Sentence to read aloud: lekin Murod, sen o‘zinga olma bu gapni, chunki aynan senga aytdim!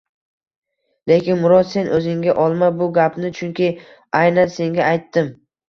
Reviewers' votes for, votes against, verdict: 2, 0, accepted